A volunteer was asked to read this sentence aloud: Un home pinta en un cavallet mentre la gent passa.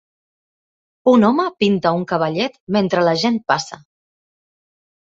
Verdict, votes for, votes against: rejected, 0, 2